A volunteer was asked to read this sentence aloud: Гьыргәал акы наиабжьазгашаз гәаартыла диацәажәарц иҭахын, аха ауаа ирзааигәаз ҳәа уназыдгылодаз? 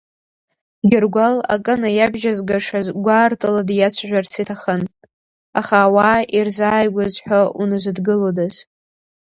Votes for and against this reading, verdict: 4, 0, accepted